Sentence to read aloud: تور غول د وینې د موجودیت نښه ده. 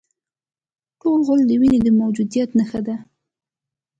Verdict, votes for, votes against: accepted, 3, 2